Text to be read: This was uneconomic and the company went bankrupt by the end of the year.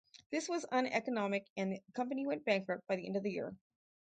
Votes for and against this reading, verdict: 2, 4, rejected